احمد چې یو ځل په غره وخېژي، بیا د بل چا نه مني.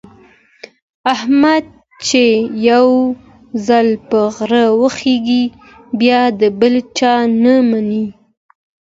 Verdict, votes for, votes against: accepted, 2, 0